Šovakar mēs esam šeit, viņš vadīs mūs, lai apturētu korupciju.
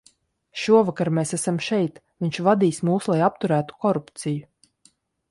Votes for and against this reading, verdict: 2, 0, accepted